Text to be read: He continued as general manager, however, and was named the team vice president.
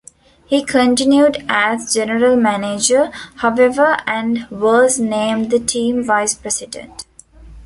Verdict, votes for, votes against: accepted, 2, 0